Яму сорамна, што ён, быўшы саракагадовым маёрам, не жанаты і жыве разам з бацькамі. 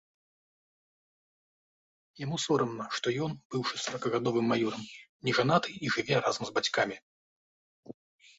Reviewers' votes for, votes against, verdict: 3, 0, accepted